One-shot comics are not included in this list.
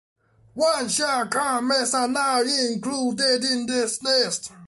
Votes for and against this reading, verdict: 1, 2, rejected